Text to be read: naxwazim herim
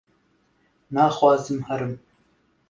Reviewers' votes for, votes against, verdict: 2, 0, accepted